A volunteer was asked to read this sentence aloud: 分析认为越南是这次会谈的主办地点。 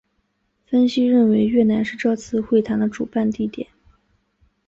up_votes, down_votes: 4, 0